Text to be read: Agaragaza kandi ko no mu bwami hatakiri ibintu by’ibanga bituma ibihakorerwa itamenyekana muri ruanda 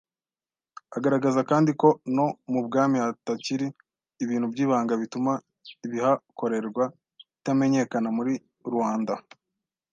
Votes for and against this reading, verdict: 2, 0, accepted